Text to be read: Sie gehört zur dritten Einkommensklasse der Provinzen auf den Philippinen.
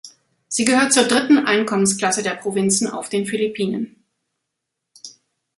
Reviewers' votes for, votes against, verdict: 2, 0, accepted